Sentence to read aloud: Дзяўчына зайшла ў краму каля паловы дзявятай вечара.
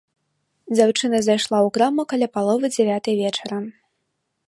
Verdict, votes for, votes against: accepted, 2, 0